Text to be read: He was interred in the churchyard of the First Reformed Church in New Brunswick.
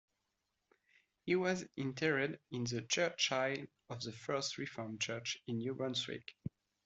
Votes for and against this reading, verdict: 1, 2, rejected